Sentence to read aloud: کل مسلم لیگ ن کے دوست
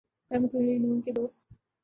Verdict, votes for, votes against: rejected, 2, 3